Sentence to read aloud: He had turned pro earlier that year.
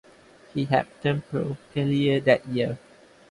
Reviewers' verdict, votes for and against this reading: accepted, 2, 0